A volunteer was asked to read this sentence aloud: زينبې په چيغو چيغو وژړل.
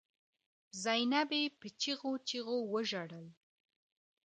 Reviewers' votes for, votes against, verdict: 2, 0, accepted